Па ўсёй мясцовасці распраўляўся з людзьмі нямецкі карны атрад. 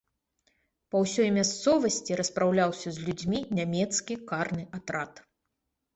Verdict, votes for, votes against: accepted, 3, 0